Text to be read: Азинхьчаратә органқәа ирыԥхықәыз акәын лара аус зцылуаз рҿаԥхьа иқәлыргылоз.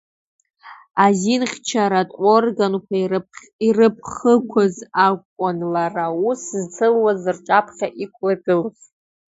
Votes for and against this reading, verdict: 1, 2, rejected